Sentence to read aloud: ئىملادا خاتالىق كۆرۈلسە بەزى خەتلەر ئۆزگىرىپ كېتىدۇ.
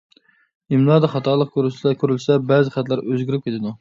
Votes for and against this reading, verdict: 0, 2, rejected